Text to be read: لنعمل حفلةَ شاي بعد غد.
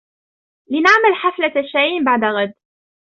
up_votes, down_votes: 1, 2